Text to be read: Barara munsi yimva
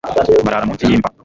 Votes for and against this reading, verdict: 1, 2, rejected